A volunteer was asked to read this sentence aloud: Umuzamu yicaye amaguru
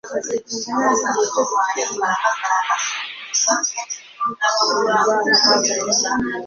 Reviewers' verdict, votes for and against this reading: rejected, 0, 2